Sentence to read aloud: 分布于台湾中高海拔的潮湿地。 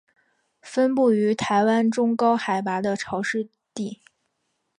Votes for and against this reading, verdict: 3, 1, accepted